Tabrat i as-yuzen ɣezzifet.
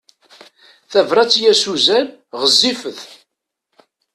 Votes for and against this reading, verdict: 0, 2, rejected